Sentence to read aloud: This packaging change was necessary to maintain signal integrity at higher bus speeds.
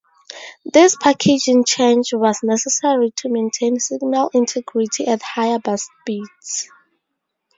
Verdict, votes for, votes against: rejected, 0, 2